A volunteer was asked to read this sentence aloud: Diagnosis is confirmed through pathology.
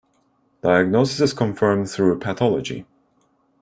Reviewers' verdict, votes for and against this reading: accepted, 2, 0